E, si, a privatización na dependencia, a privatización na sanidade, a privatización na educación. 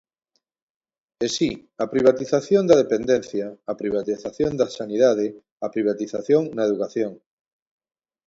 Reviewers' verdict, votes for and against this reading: rejected, 0, 2